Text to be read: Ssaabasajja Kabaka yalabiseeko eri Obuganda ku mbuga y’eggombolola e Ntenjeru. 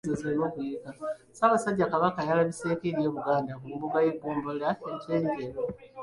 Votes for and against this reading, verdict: 0, 2, rejected